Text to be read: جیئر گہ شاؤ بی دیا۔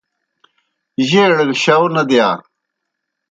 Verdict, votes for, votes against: rejected, 1, 2